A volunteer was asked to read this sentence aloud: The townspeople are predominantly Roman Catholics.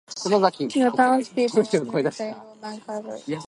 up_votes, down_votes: 0, 2